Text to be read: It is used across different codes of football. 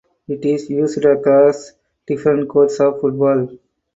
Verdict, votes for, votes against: rejected, 2, 4